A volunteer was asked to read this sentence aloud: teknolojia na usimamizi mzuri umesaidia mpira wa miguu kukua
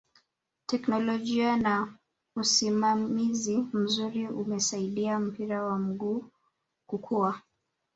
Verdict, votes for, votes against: accepted, 2, 0